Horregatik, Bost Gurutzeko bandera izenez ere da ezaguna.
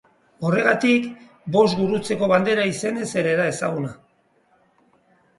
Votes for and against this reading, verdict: 3, 1, accepted